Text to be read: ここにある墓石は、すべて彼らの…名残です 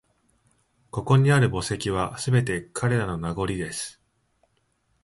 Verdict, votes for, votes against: accepted, 2, 0